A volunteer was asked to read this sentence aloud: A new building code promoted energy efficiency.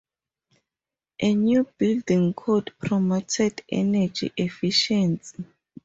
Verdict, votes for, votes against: accepted, 4, 2